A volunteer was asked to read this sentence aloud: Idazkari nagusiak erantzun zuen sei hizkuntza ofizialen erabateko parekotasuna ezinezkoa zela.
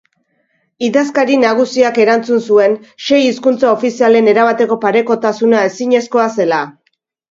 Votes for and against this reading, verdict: 2, 0, accepted